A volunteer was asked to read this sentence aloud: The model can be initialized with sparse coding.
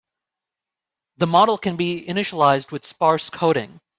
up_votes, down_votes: 4, 0